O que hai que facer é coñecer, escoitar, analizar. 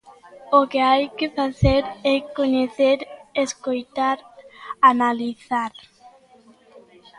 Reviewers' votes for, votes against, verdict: 2, 1, accepted